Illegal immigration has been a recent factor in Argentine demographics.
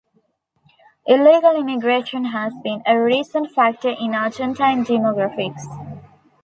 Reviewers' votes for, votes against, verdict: 2, 1, accepted